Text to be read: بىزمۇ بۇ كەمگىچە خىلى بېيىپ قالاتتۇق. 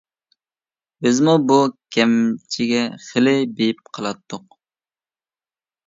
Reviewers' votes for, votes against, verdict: 0, 2, rejected